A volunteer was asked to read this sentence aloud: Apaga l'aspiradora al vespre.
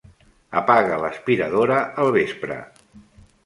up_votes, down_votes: 3, 0